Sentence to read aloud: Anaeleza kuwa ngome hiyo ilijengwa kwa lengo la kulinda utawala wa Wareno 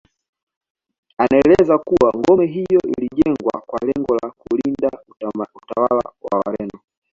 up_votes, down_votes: 2, 0